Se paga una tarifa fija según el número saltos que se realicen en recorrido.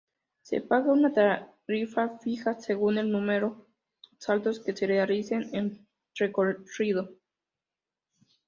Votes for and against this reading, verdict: 0, 2, rejected